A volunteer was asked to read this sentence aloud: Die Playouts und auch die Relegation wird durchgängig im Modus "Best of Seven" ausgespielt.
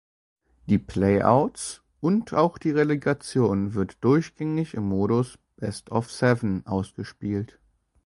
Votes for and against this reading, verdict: 2, 0, accepted